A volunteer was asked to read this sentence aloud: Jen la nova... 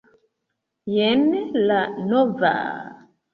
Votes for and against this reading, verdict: 2, 1, accepted